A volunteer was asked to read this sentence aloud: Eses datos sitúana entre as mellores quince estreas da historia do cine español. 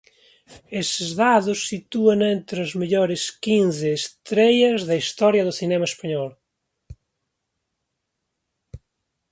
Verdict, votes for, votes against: rejected, 0, 2